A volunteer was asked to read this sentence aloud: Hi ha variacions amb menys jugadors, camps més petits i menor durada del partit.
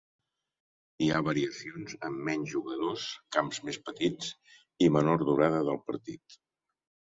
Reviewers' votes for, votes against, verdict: 2, 0, accepted